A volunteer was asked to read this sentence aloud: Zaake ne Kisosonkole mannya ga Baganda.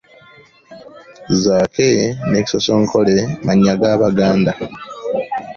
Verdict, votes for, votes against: accepted, 2, 0